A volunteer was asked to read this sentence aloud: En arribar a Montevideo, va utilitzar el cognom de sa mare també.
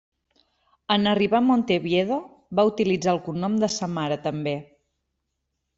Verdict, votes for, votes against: rejected, 0, 2